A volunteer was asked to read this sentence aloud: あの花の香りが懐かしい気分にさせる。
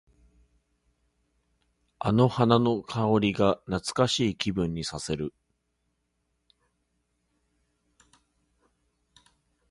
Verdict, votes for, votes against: rejected, 0, 2